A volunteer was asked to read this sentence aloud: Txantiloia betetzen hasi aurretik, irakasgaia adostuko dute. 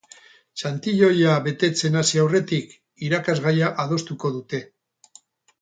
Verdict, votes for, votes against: accepted, 4, 0